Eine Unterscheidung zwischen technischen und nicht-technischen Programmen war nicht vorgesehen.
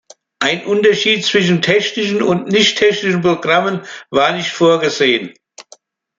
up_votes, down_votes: 1, 2